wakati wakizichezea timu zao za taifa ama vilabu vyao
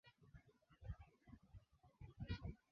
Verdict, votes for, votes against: rejected, 0, 2